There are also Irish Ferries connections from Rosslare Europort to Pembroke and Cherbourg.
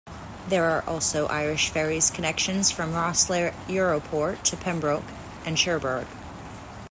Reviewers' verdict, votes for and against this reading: accepted, 2, 0